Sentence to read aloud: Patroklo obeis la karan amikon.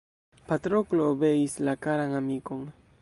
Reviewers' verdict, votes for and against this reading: rejected, 1, 2